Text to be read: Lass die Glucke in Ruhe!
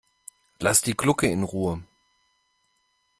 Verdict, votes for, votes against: accepted, 2, 0